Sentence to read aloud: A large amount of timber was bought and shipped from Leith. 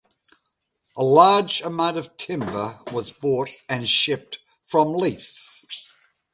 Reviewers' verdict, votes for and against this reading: accepted, 2, 0